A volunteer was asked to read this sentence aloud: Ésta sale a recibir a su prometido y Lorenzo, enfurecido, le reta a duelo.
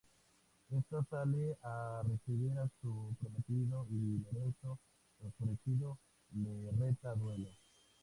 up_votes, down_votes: 0, 2